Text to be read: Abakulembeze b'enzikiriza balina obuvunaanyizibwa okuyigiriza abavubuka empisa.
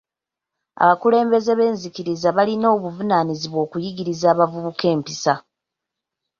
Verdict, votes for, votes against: accepted, 2, 0